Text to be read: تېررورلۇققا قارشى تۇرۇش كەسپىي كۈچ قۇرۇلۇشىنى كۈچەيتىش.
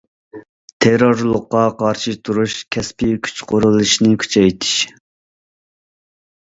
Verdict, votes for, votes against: accepted, 2, 0